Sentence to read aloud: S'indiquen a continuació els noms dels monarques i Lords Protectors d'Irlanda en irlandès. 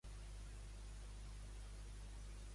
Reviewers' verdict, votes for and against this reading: rejected, 0, 2